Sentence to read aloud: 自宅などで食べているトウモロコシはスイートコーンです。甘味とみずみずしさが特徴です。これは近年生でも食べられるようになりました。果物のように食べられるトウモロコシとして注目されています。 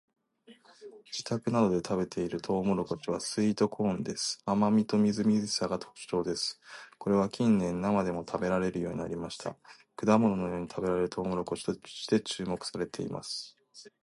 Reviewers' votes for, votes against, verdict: 1, 2, rejected